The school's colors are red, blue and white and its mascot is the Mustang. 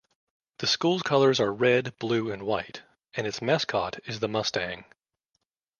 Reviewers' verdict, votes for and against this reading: accepted, 2, 0